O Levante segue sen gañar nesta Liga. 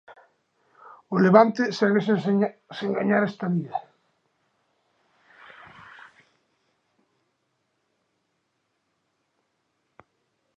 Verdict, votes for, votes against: rejected, 0, 2